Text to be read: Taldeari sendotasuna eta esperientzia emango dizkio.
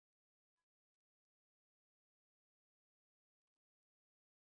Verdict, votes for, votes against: rejected, 0, 2